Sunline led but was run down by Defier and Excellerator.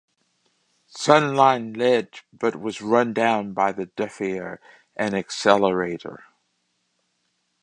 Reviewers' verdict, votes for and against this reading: rejected, 1, 2